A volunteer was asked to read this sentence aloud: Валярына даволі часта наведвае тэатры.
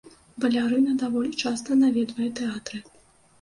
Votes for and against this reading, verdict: 2, 0, accepted